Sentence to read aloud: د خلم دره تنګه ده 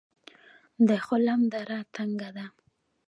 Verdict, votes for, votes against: rejected, 0, 2